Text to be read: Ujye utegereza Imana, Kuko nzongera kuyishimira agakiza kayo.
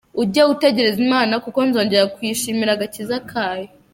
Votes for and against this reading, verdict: 2, 0, accepted